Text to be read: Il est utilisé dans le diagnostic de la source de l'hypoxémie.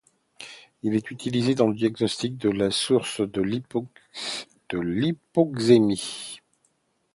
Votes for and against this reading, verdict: 0, 2, rejected